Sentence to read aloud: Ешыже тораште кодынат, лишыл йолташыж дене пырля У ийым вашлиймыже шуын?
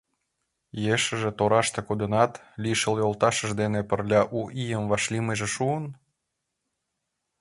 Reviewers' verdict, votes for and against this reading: accepted, 2, 0